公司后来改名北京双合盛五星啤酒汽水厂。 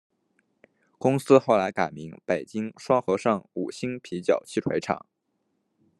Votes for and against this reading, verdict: 2, 0, accepted